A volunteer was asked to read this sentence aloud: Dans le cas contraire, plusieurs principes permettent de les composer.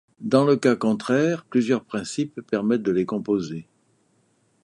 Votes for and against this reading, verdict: 2, 0, accepted